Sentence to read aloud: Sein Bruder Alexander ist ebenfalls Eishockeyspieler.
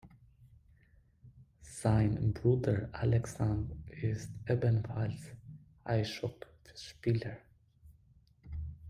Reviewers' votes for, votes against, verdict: 1, 2, rejected